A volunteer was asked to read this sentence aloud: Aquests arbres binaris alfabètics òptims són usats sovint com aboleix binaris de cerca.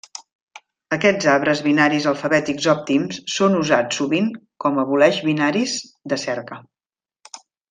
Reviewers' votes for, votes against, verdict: 2, 0, accepted